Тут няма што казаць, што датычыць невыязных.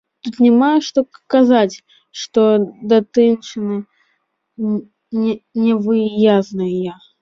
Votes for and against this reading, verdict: 0, 2, rejected